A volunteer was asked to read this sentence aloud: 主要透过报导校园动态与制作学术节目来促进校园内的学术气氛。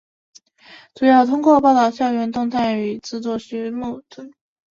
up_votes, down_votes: 1, 2